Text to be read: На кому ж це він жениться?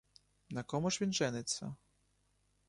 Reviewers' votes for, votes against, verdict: 0, 2, rejected